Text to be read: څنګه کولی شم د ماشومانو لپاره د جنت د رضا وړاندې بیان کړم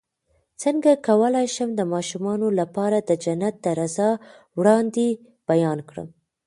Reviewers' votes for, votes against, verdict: 1, 2, rejected